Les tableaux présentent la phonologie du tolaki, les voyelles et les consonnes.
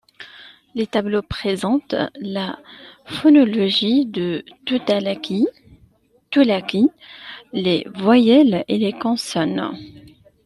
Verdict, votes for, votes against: rejected, 0, 2